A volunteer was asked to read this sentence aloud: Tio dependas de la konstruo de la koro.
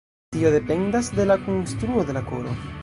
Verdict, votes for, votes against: rejected, 1, 2